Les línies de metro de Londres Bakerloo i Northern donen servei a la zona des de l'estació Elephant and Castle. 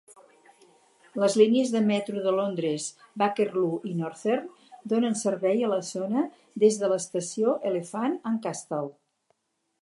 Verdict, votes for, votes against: accepted, 4, 0